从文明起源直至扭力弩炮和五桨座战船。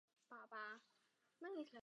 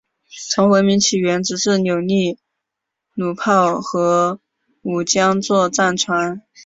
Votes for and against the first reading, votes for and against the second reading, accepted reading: 0, 4, 2, 0, second